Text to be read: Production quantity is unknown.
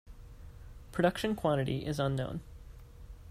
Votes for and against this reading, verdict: 2, 0, accepted